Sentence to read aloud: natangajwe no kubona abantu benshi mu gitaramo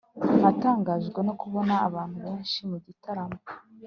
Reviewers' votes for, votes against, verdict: 2, 0, accepted